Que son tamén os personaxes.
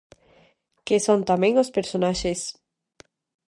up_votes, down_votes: 2, 0